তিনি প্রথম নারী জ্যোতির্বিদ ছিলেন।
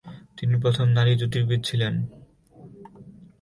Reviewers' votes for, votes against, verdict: 21, 8, accepted